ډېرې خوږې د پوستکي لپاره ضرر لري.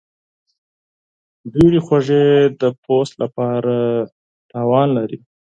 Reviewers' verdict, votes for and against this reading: rejected, 2, 4